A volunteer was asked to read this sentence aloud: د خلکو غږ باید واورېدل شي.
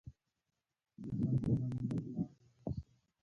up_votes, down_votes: 0, 2